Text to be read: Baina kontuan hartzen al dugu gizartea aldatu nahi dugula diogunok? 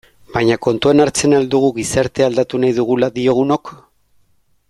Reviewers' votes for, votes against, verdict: 2, 0, accepted